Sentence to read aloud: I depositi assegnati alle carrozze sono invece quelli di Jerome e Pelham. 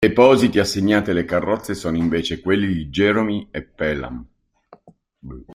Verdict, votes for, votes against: rejected, 0, 4